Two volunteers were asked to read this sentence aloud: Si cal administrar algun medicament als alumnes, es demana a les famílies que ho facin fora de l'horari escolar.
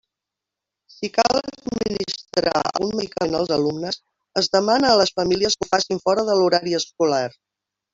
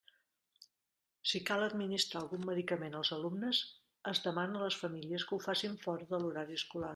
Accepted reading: second